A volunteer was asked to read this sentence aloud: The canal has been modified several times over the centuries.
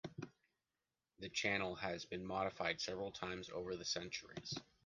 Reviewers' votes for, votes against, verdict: 0, 2, rejected